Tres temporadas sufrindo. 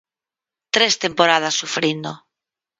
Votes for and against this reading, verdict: 4, 0, accepted